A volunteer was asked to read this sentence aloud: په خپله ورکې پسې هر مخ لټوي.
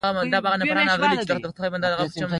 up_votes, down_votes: 0, 2